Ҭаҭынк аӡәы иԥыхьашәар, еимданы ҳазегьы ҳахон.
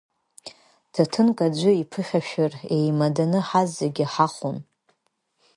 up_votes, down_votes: 1, 2